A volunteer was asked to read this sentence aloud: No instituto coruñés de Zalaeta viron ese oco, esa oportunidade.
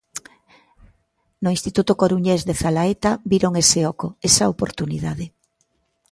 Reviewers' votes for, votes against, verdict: 2, 0, accepted